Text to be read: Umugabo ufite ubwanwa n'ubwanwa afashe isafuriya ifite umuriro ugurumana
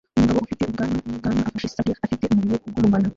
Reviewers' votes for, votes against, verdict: 0, 2, rejected